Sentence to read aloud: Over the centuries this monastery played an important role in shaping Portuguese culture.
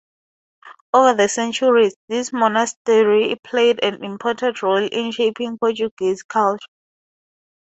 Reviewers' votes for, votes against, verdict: 0, 4, rejected